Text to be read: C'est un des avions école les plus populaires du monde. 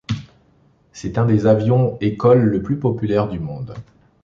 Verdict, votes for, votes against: rejected, 0, 2